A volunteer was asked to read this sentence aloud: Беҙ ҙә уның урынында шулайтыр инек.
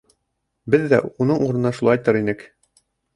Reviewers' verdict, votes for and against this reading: rejected, 0, 2